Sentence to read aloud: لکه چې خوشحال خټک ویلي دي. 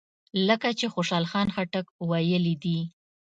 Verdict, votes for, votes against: accepted, 2, 0